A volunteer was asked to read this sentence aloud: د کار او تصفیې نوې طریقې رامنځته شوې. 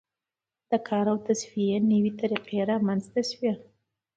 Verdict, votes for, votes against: accepted, 2, 0